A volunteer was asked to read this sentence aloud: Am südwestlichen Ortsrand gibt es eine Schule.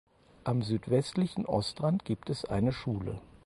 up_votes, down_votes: 2, 4